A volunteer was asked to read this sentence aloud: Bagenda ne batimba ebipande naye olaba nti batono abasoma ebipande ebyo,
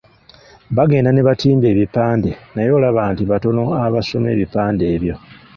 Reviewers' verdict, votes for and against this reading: rejected, 1, 2